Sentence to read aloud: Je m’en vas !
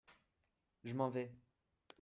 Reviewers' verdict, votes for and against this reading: rejected, 0, 2